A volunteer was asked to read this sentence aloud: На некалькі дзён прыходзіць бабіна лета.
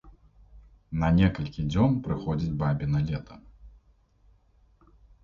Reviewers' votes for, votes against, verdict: 2, 0, accepted